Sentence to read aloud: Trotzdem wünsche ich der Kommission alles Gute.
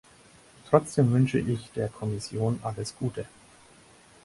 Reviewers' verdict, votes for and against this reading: accepted, 4, 0